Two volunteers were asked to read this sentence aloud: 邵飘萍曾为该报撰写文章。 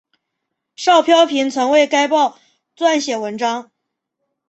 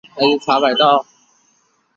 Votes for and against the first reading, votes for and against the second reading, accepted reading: 2, 0, 2, 3, first